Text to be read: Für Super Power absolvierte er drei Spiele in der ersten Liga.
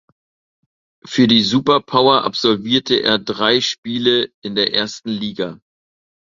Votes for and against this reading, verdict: 0, 2, rejected